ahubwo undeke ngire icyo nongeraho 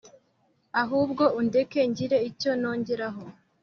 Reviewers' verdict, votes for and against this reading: accepted, 2, 0